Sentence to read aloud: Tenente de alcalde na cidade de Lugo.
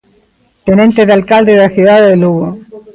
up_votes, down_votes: 0, 2